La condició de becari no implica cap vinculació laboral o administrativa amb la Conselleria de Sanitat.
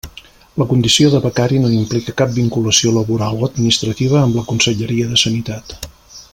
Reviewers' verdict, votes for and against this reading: accepted, 2, 0